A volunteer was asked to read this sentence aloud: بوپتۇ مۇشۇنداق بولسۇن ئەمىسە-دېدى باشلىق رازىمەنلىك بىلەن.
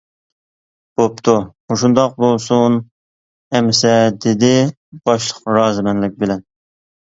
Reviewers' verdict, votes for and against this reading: accepted, 2, 0